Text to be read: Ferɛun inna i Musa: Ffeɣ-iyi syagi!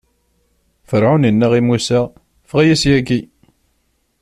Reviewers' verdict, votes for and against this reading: accepted, 2, 0